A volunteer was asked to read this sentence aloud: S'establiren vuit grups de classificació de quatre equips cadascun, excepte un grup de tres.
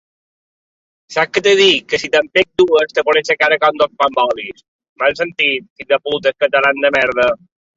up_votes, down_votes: 0, 2